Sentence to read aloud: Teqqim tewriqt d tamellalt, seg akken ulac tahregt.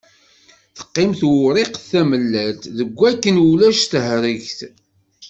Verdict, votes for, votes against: rejected, 1, 2